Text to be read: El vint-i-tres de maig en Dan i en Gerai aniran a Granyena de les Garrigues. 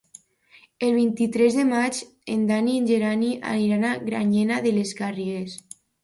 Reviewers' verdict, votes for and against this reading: rejected, 0, 2